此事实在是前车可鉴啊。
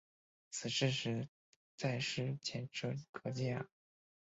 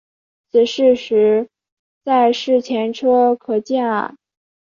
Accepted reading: first